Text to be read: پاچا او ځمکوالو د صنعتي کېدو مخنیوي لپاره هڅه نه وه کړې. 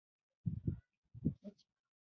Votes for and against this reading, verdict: 0, 2, rejected